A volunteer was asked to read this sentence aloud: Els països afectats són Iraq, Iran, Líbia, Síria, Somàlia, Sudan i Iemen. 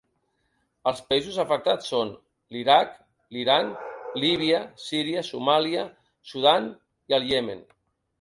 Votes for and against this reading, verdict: 0, 2, rejected